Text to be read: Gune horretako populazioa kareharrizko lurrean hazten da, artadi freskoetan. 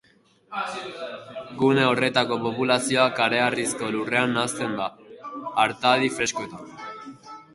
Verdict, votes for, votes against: rejected, 0, 2